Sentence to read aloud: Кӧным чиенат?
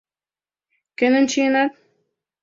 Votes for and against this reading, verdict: 2, 0, accepted